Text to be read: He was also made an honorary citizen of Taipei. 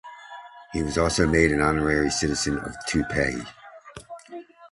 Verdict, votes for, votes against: accepted, 2, 0